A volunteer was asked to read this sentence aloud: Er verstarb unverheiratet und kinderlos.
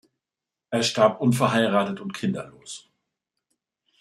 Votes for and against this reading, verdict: 1, 2, rejected